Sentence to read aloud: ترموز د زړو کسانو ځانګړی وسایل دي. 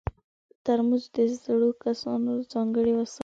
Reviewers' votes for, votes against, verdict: 2, 1, accepted